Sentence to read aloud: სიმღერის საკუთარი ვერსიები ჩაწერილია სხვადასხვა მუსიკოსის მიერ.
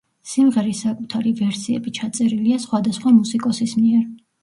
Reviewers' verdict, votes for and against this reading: accepted, 2, 0